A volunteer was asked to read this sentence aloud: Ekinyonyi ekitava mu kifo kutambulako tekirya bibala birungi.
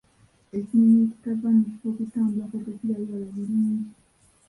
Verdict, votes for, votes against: rejected, 0, 2